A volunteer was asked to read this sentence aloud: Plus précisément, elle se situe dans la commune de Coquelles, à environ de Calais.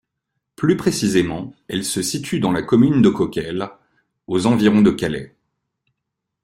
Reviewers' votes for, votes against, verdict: 0, 2, rejected